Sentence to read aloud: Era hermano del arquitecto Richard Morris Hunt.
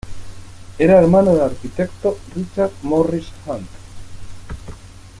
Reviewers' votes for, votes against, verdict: 2, 0, accepted